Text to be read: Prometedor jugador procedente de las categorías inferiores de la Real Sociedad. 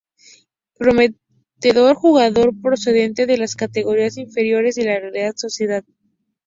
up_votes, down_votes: 0, 2